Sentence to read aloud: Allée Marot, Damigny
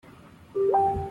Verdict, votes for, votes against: rejected, 0, 2